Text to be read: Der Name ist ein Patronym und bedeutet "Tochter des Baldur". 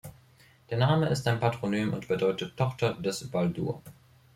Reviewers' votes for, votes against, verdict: 2, 0, accepted